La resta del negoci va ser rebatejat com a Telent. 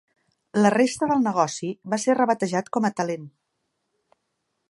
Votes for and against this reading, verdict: 2, 0, accepted